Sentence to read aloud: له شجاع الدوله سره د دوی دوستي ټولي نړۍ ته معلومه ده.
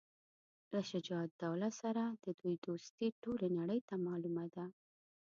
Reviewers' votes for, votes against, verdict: 1, 2, rejected